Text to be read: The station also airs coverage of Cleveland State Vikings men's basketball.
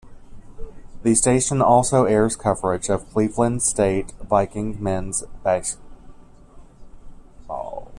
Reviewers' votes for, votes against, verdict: 0, 2, rejected